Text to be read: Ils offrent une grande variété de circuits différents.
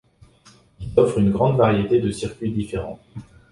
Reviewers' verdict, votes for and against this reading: rejected, 1, 2